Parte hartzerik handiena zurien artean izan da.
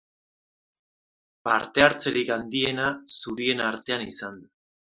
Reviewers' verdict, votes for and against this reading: rejected, 0, 2